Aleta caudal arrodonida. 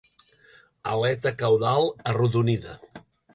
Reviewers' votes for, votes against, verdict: 4, 0, accepted